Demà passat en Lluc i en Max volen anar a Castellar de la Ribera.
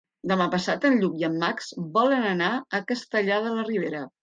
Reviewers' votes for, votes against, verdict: 2, 0, accepted